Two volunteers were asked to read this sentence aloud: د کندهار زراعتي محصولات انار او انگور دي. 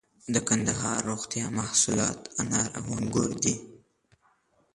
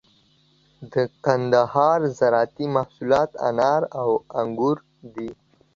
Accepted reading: second